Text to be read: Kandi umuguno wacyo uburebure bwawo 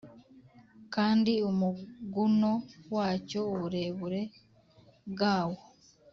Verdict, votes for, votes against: accepted, 3, 0